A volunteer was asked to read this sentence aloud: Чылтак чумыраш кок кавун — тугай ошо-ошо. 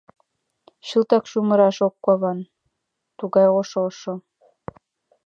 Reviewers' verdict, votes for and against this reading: accepted, 2, 0